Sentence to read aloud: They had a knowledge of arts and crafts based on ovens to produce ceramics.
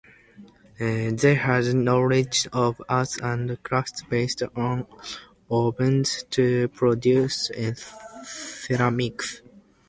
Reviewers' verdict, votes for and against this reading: accepted, 2, 0